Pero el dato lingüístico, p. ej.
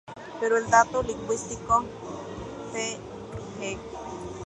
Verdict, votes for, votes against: rejected, 0, 2